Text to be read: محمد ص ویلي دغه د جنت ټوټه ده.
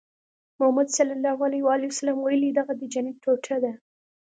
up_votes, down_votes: 2, 0